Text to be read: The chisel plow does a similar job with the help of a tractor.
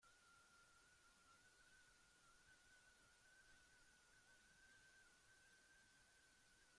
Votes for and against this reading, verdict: 0, 3, rejected